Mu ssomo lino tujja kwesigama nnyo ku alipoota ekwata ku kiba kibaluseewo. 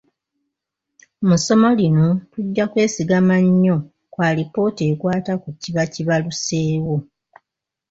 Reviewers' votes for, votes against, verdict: 1, 2, rejected